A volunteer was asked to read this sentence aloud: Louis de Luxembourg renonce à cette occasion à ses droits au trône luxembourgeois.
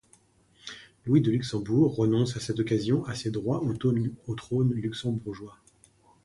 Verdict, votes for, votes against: rejected, 1, 2